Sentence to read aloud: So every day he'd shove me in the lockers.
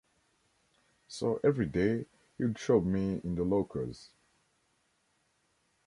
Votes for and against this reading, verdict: 0, 2, rejected